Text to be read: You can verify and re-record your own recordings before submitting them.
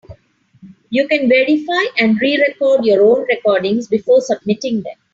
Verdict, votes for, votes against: accepted, 3, 0